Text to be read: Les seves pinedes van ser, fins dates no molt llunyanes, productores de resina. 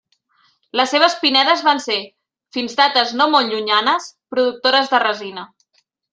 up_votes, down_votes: 2, 0